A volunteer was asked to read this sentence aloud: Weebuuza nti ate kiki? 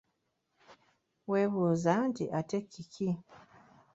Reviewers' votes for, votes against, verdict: 2, 0, accepted